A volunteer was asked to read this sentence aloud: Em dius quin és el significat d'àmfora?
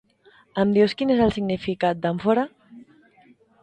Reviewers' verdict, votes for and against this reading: accepted, 2, 0